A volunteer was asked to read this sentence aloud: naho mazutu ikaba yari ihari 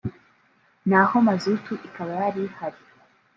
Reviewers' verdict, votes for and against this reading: rejected, 0, 2